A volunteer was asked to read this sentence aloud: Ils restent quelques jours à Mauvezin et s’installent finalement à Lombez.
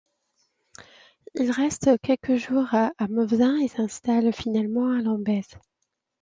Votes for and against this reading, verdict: 2, 0, accepted